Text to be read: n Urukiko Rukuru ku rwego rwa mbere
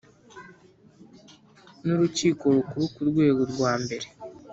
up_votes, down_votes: 2, 0